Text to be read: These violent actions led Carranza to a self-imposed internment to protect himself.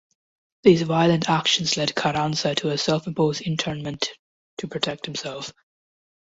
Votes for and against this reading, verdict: 2, 0, accepted